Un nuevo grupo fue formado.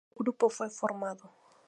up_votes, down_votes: 0, 2